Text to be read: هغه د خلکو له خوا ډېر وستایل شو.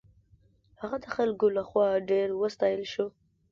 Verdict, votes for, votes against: accepted, 2, 0